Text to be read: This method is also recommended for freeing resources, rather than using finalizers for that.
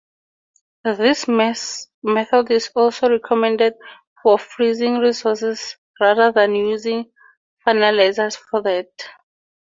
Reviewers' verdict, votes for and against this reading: rejected, 0, 2